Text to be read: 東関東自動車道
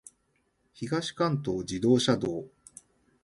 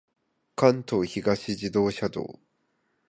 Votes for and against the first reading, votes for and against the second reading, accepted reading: 3, 0, 0, 3, first